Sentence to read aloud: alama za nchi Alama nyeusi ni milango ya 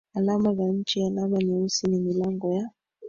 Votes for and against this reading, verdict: 3, 1, accepted